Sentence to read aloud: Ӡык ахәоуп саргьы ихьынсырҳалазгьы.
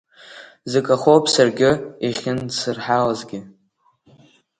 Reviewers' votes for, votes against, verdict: 1, 2, rejected